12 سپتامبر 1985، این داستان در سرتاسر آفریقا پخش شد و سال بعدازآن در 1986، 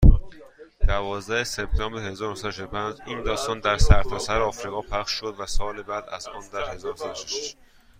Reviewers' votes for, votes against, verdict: 0, 2, rejected